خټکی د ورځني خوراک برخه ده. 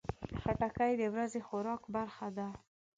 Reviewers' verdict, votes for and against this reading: accepted, 2, 1